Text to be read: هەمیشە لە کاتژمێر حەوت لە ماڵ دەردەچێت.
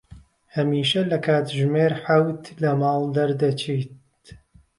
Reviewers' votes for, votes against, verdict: 1, 2, rejected